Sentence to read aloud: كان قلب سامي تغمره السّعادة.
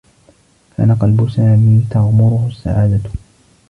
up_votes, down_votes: 1, 2